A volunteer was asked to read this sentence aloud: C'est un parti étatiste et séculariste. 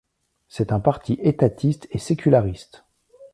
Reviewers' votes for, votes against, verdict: 2, 0, accepted